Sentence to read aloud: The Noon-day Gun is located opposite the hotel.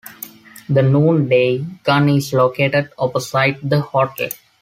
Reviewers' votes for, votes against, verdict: 0, 2, rejected